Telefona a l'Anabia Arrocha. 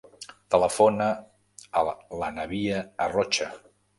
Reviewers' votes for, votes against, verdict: 0, 2, rejected